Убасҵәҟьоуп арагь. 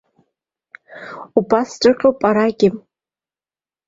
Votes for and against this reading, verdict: 2, 1, accepted